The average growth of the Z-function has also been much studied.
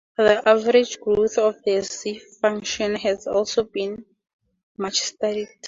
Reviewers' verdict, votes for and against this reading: rejected, 0, 2